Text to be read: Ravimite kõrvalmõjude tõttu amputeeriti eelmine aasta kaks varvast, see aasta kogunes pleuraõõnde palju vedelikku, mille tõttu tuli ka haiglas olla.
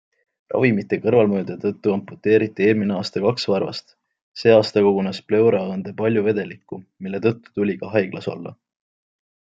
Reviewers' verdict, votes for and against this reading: accepted, 2, 0